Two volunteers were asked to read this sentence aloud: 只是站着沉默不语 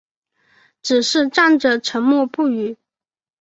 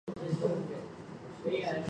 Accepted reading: first